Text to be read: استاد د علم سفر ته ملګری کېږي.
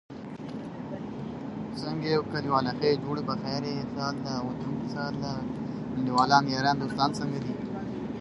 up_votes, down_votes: 1, 2